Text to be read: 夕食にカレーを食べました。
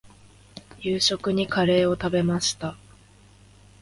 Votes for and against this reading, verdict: 2, 0, accepted